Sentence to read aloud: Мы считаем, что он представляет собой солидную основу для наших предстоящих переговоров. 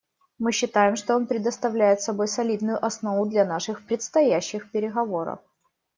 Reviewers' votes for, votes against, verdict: 2, 3, rejected